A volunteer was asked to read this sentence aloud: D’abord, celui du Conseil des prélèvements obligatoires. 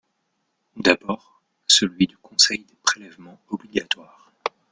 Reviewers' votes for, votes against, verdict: 0, 2, rejected